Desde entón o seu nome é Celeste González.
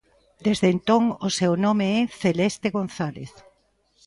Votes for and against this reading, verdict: 1, 2, rejected